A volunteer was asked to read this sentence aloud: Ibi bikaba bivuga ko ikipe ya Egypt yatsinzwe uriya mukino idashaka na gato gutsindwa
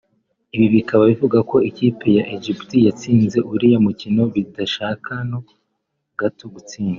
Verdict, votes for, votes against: rejected, 1, 2